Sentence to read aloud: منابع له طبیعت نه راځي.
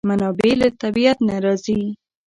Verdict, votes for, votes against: rejected, 0, 2